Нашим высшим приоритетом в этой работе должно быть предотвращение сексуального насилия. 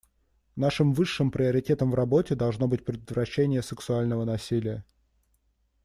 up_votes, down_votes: 0, 2